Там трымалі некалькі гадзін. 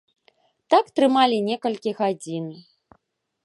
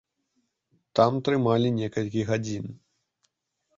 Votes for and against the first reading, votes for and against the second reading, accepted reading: 1, 2, 2, 0, second